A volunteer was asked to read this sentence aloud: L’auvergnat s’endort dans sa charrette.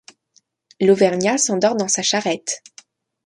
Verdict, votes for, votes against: accepted, 2, 0